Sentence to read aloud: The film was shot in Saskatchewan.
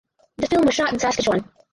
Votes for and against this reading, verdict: 0, 4, rejected